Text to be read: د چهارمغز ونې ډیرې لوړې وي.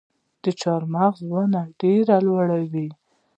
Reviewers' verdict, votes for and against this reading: rejected, 1, 2